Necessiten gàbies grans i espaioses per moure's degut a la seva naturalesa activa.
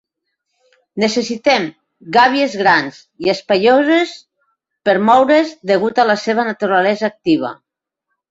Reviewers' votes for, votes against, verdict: 0, 2, rejected